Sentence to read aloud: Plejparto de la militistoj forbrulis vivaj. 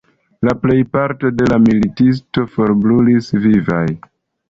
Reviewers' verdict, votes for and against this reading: rejected, 1, 2